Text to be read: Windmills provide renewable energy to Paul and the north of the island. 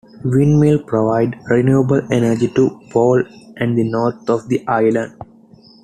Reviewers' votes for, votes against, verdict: 1, 2, rejected